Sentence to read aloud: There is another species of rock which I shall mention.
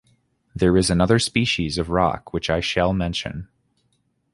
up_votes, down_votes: 3, 1